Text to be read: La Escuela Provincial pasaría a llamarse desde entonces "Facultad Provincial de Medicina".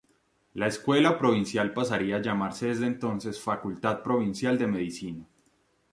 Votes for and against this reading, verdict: 2, 0, accepted